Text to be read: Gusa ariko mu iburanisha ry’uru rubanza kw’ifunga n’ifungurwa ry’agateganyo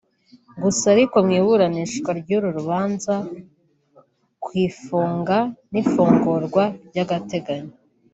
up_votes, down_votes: 1, 2